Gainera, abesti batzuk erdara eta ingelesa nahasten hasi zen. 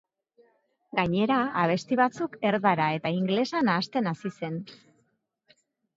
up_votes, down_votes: 2, 0